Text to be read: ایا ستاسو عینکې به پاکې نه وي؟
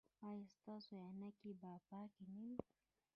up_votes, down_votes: 1, 2